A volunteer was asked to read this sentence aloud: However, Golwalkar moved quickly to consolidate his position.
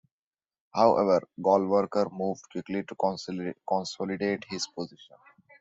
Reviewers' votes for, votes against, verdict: 0, 2, rejected